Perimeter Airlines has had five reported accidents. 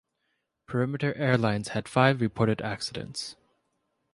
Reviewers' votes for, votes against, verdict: 2, 1, accepted